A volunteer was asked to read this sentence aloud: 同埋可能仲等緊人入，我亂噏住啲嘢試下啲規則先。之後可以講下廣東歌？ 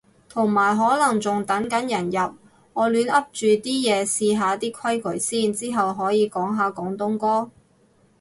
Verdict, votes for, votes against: rejected, 0, 2